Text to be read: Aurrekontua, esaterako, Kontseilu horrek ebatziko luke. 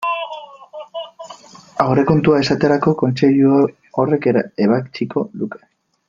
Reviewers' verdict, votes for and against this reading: rejected, 1, 2